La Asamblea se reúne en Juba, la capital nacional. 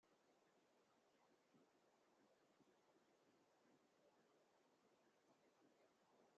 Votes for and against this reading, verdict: 0, 2, rejected